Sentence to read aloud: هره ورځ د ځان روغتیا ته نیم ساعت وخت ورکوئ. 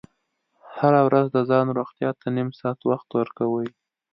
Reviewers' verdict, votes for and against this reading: accepted, 2, 0